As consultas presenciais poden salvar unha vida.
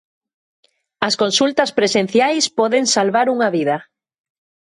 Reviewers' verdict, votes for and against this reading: accepted, 2, 0